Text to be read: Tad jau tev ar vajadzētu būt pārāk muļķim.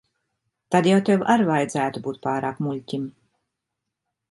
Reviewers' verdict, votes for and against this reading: accepted, 2, 0